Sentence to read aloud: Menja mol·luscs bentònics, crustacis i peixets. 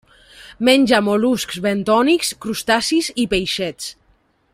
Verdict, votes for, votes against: accepted, 3, 0